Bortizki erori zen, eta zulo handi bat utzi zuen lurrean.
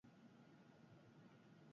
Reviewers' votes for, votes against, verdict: 0, 4, rejected